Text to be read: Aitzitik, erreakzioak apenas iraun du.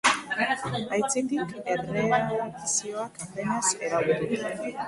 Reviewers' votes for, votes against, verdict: 1, 2, rejected